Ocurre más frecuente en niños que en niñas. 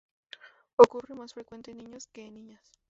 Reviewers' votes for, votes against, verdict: 0, 2, rejected